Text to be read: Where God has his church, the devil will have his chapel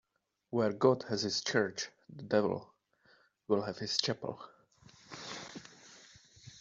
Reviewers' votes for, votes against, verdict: 2, 0, accepted